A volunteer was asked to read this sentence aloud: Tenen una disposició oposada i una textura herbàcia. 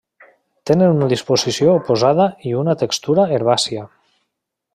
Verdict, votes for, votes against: accepted, 3, 0